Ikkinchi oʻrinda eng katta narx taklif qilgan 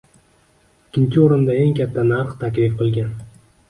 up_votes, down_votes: 0, 2